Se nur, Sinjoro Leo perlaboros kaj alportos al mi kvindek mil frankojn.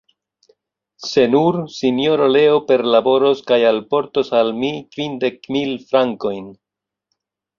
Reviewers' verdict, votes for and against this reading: accepted, 2, 0